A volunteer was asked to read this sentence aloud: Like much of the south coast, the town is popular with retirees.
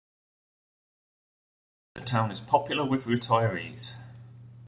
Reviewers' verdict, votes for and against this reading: accepted, 2, 0